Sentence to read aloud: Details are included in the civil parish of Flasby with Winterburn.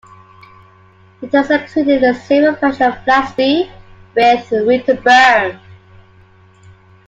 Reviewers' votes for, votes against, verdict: 0, 2, rejected